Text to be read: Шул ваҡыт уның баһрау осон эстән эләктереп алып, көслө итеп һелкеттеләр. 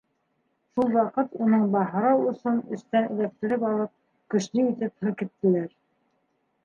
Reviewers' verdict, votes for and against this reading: accepted, 3, 2